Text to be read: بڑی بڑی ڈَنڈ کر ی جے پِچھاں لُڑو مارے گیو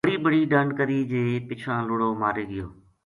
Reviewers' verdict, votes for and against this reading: accepted, 2, 0